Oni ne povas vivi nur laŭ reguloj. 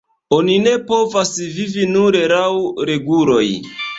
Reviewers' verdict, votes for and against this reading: rejected, 1, 3